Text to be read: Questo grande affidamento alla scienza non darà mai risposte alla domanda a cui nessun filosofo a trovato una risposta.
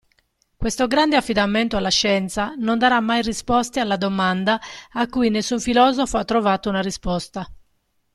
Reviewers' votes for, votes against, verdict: 2, 1, accepted